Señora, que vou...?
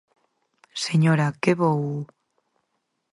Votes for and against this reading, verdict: 4, 0, accepted